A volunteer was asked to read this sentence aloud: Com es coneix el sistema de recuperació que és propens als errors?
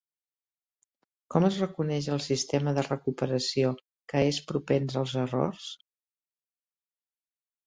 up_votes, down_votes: 0, 2